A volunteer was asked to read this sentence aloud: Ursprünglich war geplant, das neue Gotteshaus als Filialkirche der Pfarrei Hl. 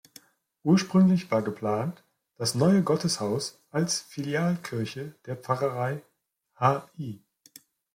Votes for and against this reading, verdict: 1, 2, rejected